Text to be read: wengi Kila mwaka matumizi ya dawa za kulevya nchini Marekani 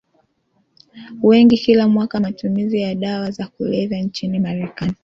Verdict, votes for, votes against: accepted, 2, 1